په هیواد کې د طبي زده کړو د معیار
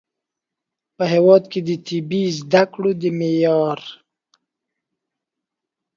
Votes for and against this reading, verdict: 2, 0, accepted